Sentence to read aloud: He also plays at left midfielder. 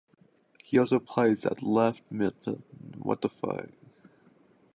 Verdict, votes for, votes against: rejected, 0, 2